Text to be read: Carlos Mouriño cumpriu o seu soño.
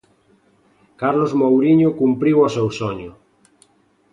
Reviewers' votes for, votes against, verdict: 2, 0, accepted